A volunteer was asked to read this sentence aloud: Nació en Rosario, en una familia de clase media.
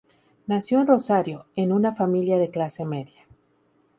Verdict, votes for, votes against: accepted, 2, 0